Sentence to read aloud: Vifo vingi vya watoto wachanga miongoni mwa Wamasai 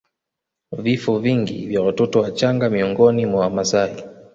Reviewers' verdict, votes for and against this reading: accepted, 2, 1